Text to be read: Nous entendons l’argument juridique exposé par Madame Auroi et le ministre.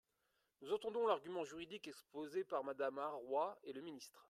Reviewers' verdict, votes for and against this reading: rejected, 0, 2